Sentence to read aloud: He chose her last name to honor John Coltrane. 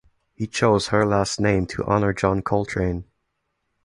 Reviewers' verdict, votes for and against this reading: accepted, 2, 0